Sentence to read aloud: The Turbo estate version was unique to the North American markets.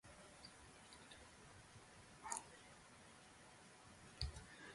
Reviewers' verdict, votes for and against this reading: rejected, 0, 4